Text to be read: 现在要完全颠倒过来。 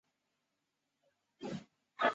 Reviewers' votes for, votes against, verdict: 0, 2, rejected